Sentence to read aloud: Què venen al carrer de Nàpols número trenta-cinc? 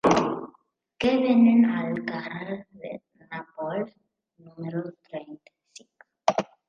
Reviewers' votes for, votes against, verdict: 0, 3, rejected